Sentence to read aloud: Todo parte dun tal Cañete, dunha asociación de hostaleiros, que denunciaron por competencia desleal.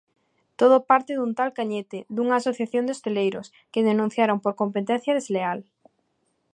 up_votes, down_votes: 1, 2